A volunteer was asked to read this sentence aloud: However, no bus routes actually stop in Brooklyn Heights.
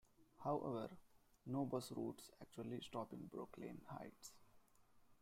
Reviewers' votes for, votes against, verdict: 2, 1, accepted